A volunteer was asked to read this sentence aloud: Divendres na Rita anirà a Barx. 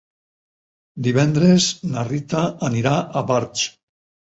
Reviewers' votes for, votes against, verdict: 6, 0, accepted